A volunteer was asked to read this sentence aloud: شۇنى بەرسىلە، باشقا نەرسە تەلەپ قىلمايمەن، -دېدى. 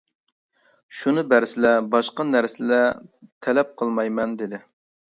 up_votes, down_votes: 0, 2